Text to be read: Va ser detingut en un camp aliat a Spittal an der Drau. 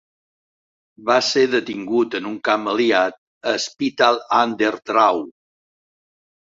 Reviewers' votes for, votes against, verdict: 2, 0, accepted